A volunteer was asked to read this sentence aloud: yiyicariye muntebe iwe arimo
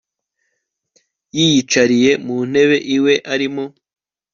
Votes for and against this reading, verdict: 2, 0, accepted